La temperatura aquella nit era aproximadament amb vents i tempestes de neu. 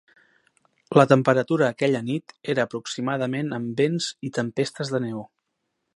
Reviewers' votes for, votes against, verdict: 3, 0, accepted